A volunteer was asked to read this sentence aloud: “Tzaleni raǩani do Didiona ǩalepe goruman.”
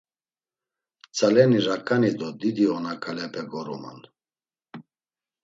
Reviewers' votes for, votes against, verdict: 2, 0, accepted